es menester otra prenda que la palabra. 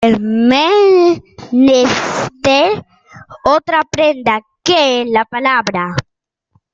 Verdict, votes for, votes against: rejected, 0, 2